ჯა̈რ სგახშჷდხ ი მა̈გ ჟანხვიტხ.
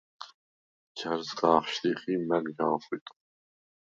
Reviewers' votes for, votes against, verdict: 0, 4, rejected